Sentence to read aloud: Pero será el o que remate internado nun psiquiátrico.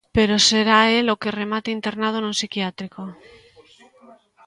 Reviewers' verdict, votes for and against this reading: accepted, 2, 1